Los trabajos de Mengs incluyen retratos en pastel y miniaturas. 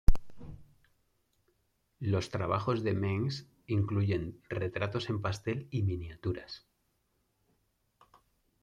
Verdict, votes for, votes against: accepted, 2, 0